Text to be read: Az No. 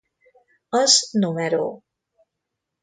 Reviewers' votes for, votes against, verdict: 1, 2, rejected